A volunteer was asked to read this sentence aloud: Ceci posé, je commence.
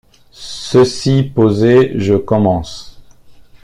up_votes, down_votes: 2, 1